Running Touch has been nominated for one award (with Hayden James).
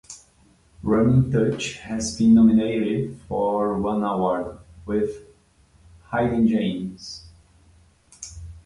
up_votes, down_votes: 1, 2